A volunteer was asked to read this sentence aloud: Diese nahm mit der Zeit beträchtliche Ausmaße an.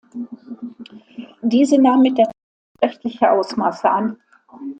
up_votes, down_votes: 0, 2